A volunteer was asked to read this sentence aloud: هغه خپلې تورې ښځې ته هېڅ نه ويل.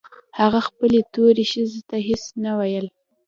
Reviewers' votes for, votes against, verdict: 2, 0, accepted